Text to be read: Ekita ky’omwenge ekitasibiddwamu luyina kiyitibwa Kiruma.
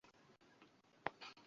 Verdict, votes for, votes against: rejected, 1, 2